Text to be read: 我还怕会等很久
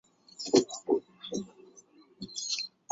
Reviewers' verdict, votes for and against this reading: rejected, 0, 2